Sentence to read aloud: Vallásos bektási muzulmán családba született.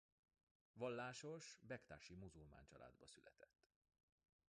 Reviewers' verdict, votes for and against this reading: rejected, 1, 2